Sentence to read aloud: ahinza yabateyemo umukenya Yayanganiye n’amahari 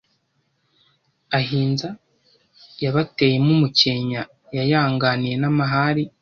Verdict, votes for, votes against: accepted, 2, 0